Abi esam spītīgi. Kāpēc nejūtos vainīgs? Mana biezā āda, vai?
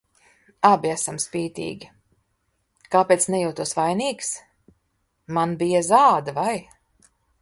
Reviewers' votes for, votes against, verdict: 0, 2, rejected